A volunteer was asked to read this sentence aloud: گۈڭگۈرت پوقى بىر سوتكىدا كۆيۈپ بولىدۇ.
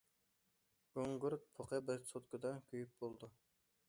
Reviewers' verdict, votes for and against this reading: rejected, 0, 2